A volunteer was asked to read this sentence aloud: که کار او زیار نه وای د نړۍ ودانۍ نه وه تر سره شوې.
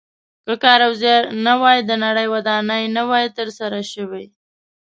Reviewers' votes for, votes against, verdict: 2, 0, accepted